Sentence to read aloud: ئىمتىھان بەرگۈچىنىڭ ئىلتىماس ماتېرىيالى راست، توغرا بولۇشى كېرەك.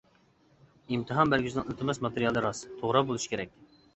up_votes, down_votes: 2, 0